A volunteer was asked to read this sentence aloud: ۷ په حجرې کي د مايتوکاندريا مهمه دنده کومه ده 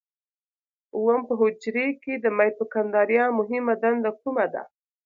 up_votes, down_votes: 0, 2